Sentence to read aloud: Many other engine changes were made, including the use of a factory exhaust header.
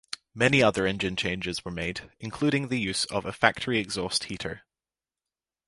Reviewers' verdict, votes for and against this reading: rejected, 2, 3